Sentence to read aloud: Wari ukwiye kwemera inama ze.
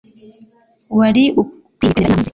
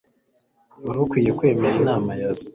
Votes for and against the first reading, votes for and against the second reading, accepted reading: 1, 2, 2, 1, second